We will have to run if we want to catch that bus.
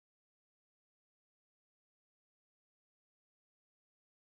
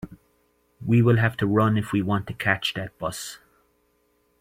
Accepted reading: second